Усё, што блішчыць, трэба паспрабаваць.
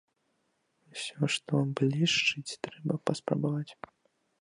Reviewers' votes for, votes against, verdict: 1, 2, rejected